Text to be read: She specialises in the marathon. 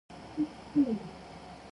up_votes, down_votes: 0, 2